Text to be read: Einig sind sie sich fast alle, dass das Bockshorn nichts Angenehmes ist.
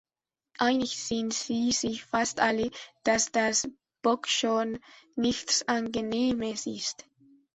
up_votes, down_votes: 1, 2